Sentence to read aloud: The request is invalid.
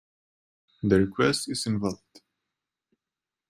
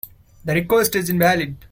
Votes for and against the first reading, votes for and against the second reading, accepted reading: 0, 2, 2, 0, second